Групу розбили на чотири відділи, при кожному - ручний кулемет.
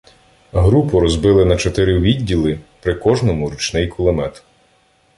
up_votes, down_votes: 2, 0